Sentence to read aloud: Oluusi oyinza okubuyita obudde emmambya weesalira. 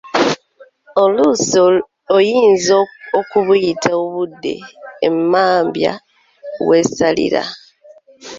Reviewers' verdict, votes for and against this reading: accepted, 2, 1